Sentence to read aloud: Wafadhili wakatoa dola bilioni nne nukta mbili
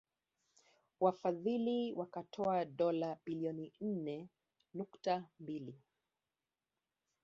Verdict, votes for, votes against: rejected, 0, 2